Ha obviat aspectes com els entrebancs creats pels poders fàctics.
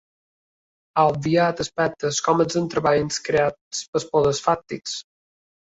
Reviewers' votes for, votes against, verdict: 2, 0, accepted